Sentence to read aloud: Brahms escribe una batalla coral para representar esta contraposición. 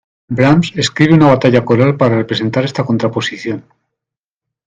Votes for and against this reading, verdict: 2, 0, accepted